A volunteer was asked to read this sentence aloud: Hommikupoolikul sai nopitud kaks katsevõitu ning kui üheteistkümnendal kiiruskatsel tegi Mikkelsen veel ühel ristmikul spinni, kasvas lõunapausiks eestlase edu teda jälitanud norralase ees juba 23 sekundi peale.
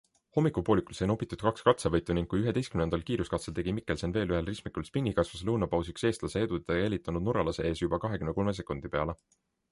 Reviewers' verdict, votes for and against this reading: rejected, 0, 2